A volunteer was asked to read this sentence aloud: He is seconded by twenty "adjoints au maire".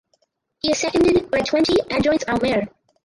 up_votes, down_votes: 0, 4